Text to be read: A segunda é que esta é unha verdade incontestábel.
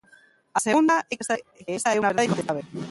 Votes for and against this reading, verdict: 0, 2, rejected